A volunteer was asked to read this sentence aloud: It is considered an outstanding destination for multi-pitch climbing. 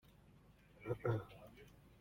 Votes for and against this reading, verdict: 0, 2, rejected